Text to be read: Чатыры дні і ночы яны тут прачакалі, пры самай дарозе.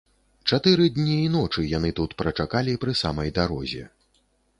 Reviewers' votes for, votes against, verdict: 2, 0, accepted